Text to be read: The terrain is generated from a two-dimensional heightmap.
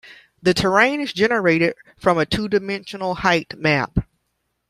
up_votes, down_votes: 2, 0